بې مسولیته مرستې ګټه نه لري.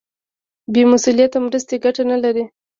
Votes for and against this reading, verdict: 1, 2, rejected